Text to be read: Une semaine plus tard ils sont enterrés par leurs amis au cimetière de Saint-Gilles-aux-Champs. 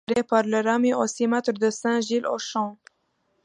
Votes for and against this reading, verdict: 0, 2, rejected